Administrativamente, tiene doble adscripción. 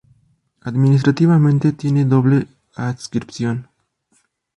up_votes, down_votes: 2, 0